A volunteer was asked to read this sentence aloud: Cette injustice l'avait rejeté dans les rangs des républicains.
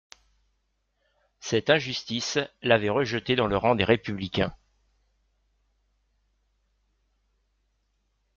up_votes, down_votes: 1, 2